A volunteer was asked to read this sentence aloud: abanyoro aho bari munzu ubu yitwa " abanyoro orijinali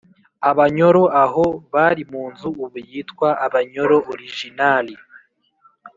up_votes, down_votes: 4, 0